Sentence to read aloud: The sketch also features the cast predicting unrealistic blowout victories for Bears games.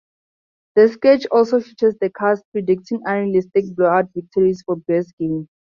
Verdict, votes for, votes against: rejected, 0, 4